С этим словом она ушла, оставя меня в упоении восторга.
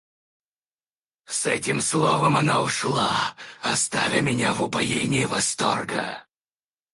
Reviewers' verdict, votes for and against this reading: rejected, 0, 4